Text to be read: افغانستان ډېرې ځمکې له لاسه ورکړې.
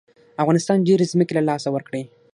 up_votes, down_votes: 6, 0